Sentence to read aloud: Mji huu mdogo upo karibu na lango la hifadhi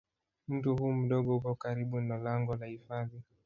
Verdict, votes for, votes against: rejected, 1, 3